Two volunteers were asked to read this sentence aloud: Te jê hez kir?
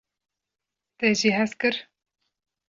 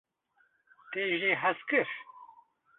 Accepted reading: first